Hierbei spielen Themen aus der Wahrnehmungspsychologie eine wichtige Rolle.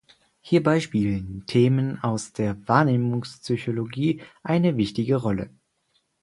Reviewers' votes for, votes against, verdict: 4, 0, accepted